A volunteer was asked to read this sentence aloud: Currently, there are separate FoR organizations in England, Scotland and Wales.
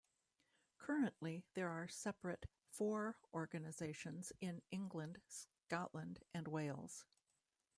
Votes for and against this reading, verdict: 1, 2, rejected